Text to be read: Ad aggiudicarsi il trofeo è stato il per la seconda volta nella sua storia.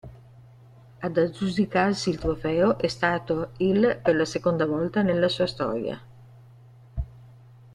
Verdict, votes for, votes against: rejected, 0, 2